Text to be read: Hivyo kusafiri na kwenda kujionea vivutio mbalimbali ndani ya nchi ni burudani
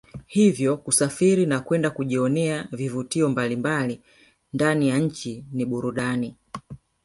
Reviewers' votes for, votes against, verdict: 0, 2, rejected